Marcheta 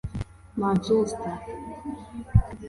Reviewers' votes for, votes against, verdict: 1, 2, rejected